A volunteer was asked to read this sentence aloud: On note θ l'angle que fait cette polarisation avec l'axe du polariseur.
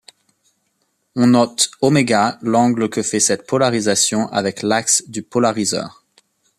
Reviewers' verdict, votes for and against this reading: rejected, 0, 2